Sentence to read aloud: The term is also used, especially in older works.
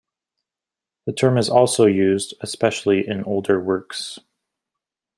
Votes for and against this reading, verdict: 2, 0, accepted